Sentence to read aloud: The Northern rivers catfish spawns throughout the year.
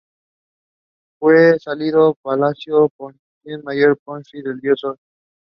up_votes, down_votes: 0, 2